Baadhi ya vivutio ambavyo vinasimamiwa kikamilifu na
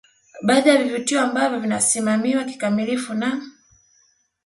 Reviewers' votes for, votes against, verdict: 2, 0, accepted